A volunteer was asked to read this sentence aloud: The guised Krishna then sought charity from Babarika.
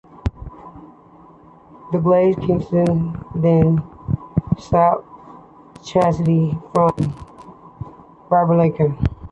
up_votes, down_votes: 1, 2